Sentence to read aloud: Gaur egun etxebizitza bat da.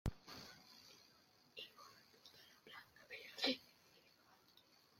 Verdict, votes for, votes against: rejected, 0, 2